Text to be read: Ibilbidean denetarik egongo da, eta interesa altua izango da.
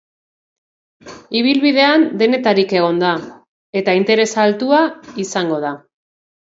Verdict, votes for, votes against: rejected, 1, 2